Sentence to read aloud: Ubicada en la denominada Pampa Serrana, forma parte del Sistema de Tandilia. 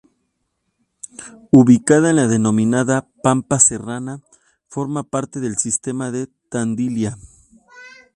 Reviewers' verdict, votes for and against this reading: accepted, 2, 0